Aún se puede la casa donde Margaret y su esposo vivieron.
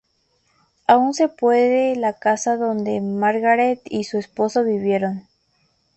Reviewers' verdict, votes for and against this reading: accepted, 2, 0